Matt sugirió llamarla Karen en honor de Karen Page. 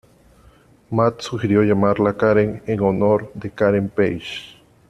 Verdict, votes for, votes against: accepted, 2, 0